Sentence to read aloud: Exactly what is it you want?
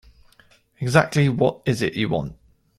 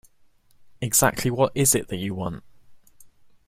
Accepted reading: first